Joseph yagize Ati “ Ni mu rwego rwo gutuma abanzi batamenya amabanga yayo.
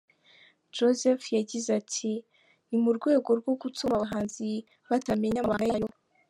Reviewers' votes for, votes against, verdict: 1, 3, rejected